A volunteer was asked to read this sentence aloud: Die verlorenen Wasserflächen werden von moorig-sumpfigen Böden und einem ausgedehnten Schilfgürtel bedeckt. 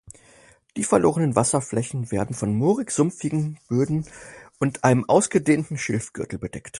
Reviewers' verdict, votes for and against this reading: accepted, 4, 0